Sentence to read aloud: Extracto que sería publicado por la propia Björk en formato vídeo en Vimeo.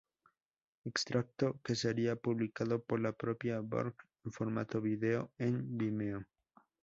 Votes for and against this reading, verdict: 2, 0, accepted